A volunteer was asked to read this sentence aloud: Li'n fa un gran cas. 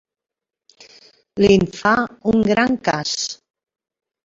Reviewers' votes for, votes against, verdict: 2, 0, accepted